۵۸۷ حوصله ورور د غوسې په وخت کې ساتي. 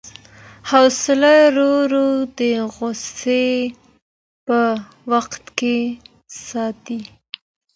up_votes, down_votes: 0, 2